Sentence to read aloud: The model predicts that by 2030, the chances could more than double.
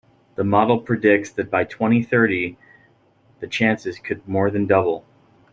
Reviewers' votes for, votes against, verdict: 0, 2, rejected